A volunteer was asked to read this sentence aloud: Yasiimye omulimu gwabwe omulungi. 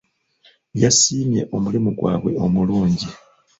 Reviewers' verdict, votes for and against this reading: rejected, 1, 2